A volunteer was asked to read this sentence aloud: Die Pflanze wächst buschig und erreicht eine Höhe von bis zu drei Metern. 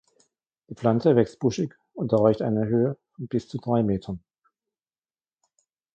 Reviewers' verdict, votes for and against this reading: accepted, 2, 0